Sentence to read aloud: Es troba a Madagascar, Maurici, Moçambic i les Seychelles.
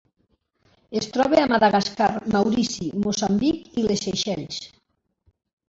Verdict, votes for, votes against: rejected, 0, 2